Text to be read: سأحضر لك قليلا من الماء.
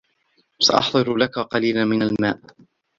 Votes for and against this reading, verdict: 2, 1, accepted